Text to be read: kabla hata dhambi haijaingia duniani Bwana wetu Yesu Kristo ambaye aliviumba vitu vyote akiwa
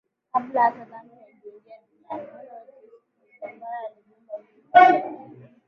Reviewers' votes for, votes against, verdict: 0, 2, rejected